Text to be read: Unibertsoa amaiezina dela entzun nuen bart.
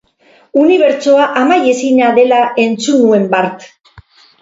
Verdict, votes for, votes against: accepted, 4, 0